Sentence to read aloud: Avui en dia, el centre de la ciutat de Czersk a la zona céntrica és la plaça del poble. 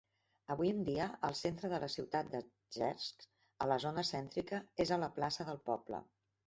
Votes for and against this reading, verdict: 0, 2, rejected